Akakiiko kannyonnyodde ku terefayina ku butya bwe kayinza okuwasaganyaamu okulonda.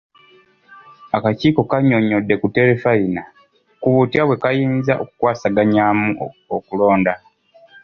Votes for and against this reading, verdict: 2, 0, accepted